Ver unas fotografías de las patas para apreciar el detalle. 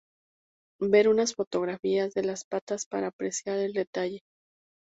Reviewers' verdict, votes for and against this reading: rejected, 0, 2